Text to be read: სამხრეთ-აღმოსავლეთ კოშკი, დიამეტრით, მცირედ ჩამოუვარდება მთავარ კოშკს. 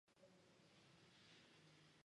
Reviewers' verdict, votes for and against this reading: rejected, 0, 2